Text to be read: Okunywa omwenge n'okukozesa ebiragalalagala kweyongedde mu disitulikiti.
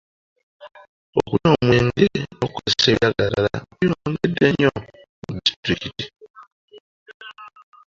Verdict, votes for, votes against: rejected, 0, 2